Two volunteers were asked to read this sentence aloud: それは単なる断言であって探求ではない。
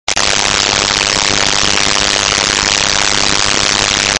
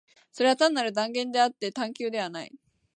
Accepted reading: second